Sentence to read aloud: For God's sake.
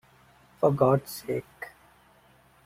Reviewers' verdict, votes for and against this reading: accepted, 2, 0